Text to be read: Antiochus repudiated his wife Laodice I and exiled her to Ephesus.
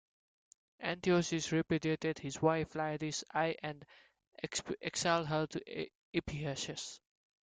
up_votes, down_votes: 1, 2